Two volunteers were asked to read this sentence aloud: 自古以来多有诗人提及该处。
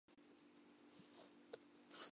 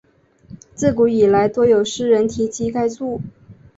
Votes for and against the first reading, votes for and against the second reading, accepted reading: 0, 2, 3, 0, second